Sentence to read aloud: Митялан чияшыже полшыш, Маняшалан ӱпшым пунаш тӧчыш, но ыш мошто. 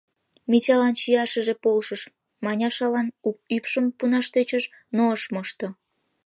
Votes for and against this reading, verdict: 1, 2, rejected